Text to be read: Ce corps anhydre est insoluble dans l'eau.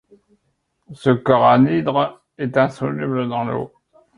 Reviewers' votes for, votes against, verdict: 2, 1, accepted